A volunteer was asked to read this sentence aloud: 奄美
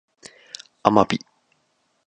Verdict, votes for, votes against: rejected, 4, 4